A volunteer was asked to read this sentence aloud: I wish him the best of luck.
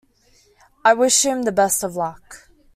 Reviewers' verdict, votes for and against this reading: accepted, 2, 0